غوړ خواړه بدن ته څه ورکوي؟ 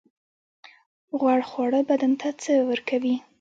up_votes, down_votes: 0, 2